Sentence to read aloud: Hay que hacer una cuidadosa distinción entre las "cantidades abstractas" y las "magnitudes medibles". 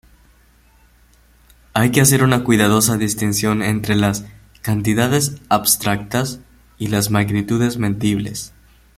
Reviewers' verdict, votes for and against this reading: rejected, 1, 2